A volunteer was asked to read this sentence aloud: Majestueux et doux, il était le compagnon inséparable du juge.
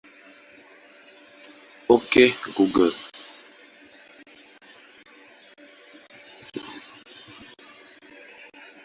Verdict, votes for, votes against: rejected, 0, 2